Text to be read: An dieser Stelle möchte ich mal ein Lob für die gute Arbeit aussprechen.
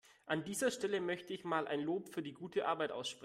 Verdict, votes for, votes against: rejected, 1, 2